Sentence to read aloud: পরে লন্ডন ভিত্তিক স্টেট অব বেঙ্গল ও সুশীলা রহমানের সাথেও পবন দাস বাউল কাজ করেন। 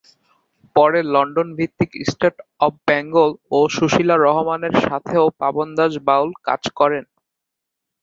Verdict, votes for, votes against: rejected, 3, 6